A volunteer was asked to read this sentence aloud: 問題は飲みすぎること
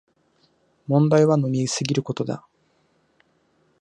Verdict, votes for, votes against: rejected, 0, 2